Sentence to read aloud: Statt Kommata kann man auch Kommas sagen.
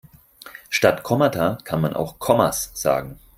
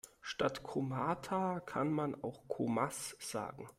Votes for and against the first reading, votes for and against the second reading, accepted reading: 4, 0, 1, 2, first